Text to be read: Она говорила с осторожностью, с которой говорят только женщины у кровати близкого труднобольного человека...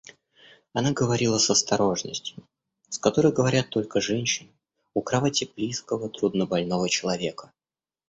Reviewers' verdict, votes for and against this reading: rejected, 1, 2